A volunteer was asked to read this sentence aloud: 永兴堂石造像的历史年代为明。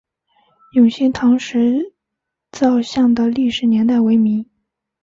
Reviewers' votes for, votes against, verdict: 2, 0, accepted